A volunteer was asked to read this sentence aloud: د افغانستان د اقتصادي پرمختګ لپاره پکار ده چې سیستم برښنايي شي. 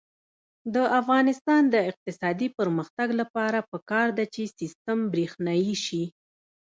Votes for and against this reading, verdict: 1, 2, rejected